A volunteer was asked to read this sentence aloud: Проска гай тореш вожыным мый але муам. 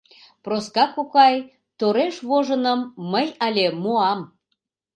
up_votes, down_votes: 0, 2